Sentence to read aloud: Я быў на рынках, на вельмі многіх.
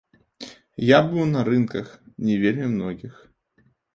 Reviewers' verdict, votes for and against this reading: rejected, 1, 2